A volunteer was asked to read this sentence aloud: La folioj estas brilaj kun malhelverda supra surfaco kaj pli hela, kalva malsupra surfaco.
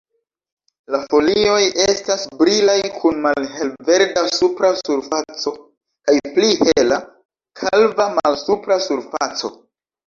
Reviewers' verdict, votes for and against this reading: accepted, 2, 0